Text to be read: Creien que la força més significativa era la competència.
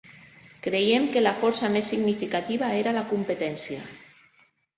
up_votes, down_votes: 0, 2